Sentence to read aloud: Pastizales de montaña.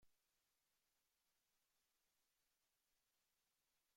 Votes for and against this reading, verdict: 0, 2, rejected